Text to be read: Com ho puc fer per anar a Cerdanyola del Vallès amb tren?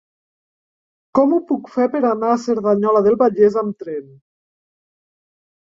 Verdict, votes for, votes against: accepted, 3, 1